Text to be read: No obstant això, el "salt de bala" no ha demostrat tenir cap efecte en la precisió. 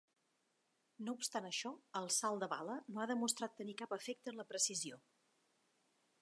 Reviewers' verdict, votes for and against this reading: accepted, 3, 0